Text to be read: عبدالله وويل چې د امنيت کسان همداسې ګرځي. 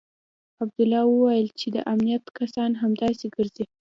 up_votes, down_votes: 2, 0